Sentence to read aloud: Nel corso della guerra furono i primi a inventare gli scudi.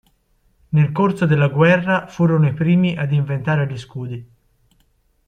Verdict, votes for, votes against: accepted, 2, 1